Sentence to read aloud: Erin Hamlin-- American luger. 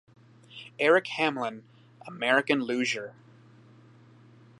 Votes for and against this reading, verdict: 0, 2, rejected